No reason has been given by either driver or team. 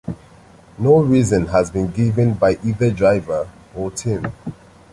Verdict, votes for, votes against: accepted, 2, 0